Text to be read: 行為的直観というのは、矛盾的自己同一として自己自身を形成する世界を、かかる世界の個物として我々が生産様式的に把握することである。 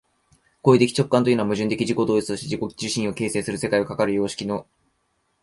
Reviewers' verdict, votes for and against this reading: rejected, 0, 2